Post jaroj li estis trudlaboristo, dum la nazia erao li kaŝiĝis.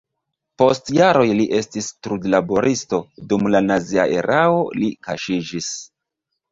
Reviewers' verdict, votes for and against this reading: rejected, 1, 2